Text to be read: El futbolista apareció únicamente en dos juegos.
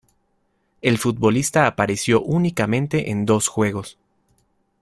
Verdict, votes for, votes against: accepted, 2, 0